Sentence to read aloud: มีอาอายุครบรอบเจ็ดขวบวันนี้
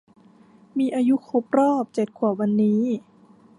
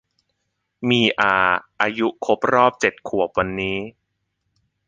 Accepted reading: second